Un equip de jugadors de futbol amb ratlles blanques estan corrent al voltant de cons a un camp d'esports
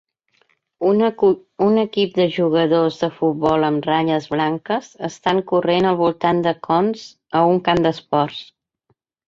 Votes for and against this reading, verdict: 1, 8, rejected